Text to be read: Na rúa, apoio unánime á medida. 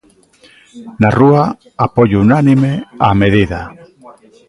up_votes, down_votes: 2, 0